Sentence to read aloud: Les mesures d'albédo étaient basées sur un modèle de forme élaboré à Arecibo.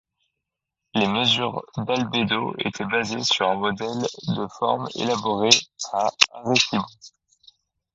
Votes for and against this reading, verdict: 0, 2, rejected